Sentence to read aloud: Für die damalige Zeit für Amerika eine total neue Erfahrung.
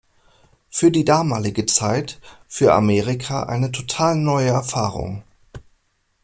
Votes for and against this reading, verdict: 2, 0, accepted